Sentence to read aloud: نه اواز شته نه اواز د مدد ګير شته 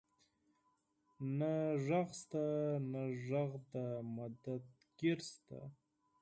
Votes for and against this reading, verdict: 0, 4, rejected